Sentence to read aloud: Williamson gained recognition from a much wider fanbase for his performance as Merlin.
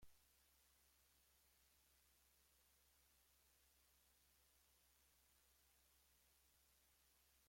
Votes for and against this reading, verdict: 1, 2, rejected